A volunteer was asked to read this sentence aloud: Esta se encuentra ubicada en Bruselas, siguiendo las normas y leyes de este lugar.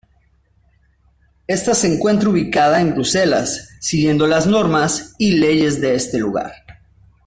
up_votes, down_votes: 2, 0